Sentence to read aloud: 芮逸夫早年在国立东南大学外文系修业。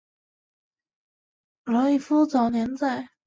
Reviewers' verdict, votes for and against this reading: rejected, 0, 2